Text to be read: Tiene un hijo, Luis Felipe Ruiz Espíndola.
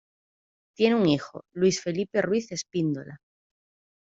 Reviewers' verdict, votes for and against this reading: rejected, 1, 2